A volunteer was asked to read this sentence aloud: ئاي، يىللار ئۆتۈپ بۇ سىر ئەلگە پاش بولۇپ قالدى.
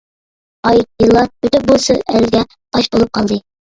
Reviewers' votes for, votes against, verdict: 1, 2, rejected